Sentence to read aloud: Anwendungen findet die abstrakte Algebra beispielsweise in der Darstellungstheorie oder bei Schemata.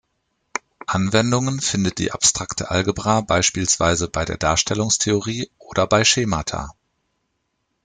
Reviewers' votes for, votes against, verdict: 0, 2, rejected